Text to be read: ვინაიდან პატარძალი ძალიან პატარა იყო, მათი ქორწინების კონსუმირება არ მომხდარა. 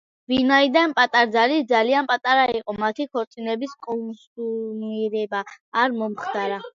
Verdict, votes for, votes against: accepted, 2, 0